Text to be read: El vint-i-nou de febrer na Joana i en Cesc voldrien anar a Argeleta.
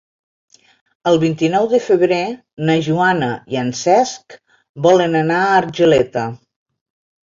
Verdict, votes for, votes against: rejected, 1, 2